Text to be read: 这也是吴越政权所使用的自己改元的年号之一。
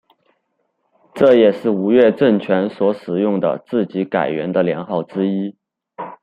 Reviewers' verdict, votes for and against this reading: rejected, 1, 2